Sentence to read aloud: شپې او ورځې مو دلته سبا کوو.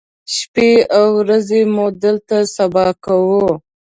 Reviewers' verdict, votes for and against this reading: accepted, 3, 0